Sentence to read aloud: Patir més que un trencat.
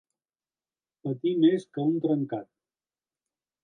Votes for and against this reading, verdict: 1, 2, rejected